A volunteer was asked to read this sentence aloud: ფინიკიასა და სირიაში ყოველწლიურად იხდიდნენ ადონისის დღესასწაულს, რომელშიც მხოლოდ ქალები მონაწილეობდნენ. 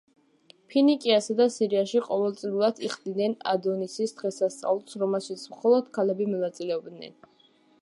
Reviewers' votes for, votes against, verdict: 2, 0, accepted